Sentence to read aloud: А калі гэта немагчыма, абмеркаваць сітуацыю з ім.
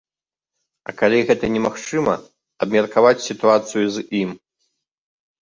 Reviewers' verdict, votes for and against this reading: rejected, 0, 2